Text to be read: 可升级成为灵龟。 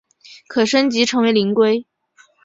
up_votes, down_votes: 4, 1